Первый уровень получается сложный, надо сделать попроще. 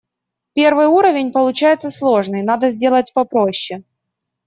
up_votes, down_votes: 2, 0